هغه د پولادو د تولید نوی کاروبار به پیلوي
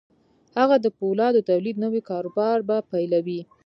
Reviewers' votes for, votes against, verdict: 4, 0, accepted